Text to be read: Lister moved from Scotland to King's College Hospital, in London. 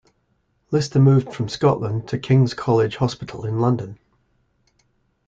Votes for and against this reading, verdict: 3, 0, accepted